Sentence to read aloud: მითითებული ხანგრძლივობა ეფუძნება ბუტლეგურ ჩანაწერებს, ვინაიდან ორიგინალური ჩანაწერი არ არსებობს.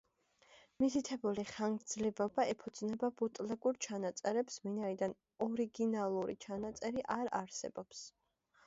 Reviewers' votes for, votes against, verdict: 1, 2, rejected